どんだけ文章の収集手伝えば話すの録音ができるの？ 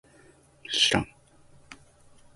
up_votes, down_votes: 1, 2